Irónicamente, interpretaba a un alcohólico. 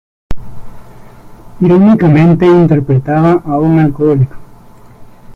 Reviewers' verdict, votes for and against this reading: accepted, 2, 0